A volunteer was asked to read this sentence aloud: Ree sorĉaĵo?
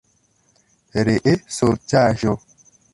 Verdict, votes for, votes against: rejected, 1, 2